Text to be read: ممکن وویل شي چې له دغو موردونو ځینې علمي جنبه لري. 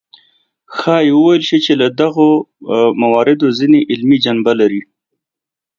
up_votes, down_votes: 1, 2